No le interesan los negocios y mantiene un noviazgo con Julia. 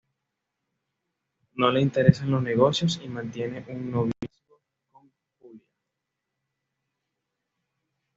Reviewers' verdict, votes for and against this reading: rejected, 1, 2